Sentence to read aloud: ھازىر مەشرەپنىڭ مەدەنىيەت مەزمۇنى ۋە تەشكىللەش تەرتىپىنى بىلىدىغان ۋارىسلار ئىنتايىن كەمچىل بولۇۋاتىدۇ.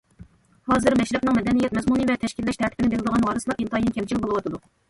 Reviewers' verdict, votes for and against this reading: rejected, 1, 2